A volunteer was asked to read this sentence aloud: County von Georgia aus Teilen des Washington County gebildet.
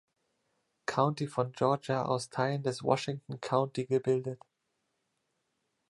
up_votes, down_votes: 2, 0